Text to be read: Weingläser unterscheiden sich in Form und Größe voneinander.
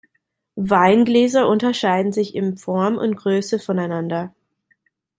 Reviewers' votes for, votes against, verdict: 2, 0, accepted